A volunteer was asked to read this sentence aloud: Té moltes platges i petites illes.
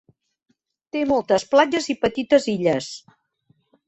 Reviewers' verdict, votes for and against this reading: accepted, 4, 0